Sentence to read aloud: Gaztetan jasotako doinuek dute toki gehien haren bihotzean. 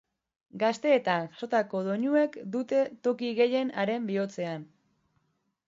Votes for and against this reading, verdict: 0, 2, rejected